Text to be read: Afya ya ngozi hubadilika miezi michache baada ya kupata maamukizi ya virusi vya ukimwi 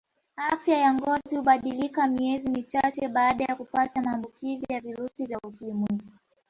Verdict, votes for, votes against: accepted, 2, 0